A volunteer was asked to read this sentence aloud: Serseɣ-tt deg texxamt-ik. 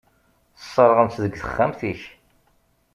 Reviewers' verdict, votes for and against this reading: rejected, 1, 2